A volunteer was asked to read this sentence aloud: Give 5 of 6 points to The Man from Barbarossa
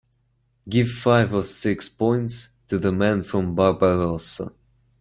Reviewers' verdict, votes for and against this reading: rejected, 0, 2